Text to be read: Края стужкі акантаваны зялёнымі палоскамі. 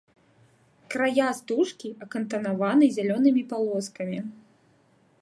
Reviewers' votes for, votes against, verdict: 0, 3, rejected